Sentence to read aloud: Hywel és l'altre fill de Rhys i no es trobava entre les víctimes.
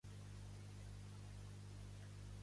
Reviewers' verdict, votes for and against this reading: rejected, 1, 2